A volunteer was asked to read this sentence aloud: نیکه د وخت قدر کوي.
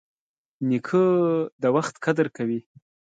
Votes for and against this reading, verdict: 2, 0, accepted